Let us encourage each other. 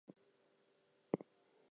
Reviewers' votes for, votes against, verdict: 0, 2, rejected